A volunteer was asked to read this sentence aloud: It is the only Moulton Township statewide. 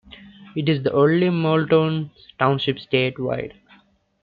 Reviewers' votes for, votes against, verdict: 2, 0, accepted